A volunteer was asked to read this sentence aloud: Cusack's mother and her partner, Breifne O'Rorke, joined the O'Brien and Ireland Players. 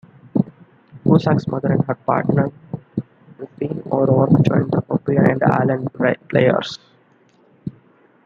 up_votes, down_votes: 0, 2